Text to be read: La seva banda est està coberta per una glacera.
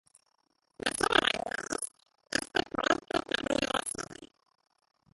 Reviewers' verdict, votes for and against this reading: rejected, 0, 2